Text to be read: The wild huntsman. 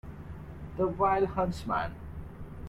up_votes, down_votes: 0, 2